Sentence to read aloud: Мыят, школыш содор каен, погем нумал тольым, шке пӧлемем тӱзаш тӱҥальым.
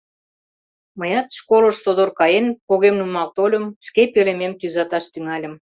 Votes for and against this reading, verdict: 0, 2, rejected